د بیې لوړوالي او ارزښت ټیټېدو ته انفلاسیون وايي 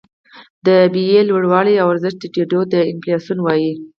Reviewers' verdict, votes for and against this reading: accepted, 4, 0